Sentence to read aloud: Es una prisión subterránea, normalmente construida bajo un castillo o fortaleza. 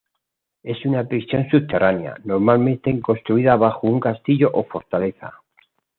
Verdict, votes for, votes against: accepted, 2, 1